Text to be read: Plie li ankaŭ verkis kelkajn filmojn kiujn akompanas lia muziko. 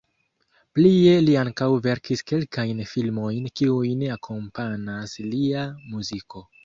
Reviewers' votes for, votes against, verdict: 1, 2, rejected